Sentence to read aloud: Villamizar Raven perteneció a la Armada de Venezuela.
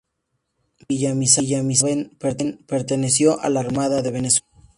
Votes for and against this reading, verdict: 0, 2, rejected